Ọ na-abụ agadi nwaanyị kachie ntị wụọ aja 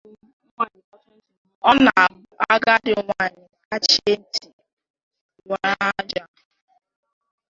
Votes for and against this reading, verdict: 3, 4, rejected